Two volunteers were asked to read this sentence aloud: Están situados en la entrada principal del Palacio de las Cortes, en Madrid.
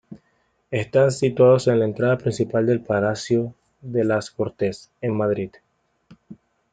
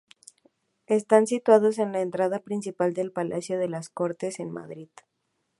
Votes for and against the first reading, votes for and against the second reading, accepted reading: 1, 2, 2, 0, second